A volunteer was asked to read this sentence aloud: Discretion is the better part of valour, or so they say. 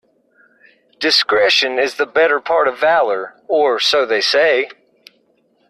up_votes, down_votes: 2, 0